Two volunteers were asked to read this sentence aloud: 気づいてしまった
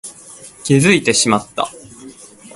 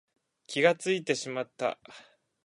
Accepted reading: first